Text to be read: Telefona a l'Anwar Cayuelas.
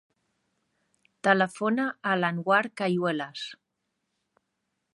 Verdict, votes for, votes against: accepted, 2, 0